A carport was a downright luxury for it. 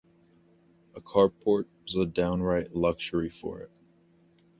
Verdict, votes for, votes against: accepted, 2, 0